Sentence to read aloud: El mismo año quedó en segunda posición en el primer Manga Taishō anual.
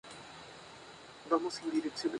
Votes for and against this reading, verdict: 0, 2, rejected